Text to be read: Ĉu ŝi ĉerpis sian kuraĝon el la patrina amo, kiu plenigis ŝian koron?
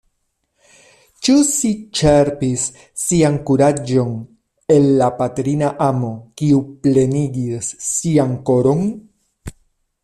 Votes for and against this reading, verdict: 0, 2, rejected